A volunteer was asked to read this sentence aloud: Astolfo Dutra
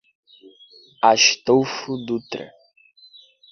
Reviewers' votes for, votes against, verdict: 2, 0, accepted